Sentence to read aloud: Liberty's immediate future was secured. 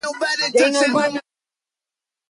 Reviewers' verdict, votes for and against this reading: rejected, 0, 3